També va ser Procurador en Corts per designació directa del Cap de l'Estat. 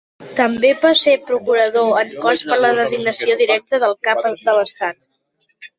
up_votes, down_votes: 0, 2